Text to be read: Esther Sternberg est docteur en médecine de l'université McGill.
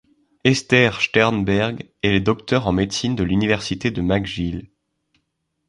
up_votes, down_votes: 1, 2